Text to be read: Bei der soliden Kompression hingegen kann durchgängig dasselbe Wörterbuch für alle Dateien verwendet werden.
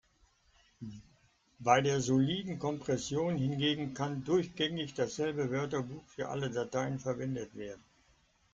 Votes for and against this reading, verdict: 2, 0, accepted